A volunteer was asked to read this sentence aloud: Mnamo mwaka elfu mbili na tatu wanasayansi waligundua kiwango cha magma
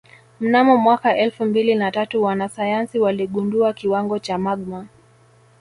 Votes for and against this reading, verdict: 2, 0, accepted